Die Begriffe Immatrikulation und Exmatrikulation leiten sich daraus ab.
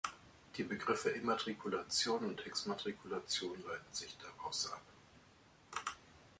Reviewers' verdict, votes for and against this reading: accepted, 2, 0